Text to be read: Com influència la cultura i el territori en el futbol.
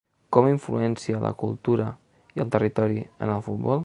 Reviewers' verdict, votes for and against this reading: accepted, 3, 0